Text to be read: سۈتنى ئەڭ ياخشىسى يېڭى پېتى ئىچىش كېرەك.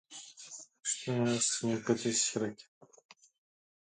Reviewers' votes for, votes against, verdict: 0, 2, rejected